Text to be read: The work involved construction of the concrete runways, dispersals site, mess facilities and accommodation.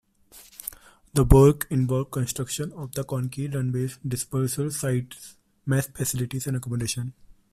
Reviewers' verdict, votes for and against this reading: rejected, 1, 2